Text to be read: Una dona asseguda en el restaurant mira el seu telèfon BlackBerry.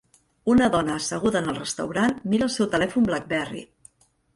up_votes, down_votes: 3, 0